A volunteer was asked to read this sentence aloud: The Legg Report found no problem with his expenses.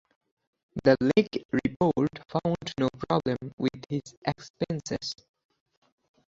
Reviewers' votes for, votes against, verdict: 0, 4, rejected